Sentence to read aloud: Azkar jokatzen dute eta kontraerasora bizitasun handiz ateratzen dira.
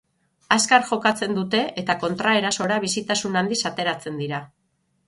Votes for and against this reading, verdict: 0, 3, rejected